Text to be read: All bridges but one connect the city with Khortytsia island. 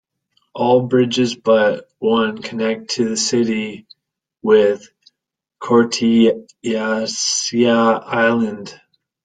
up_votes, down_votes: 0, 2